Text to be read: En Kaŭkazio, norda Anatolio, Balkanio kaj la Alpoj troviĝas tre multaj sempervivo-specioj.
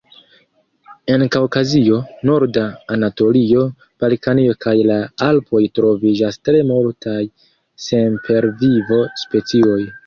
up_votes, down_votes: 2, 3